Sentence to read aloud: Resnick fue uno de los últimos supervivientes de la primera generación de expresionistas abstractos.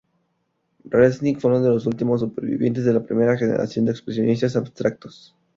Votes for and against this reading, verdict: 4, 0, accepted